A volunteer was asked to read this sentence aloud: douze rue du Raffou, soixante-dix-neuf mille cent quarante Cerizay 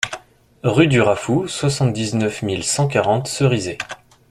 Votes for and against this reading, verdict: 0, 2, rejected